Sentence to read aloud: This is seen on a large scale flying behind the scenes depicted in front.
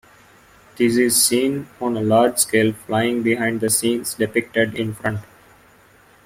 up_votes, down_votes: 2, 0